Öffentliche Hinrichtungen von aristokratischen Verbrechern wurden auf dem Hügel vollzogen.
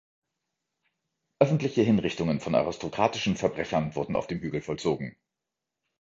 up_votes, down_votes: 2, 0